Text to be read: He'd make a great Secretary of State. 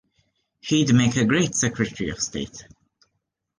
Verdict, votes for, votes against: accepted, 3, 0